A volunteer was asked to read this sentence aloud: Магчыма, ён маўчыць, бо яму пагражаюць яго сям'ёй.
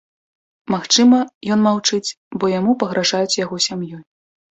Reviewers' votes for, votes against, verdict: 2, 0, accepted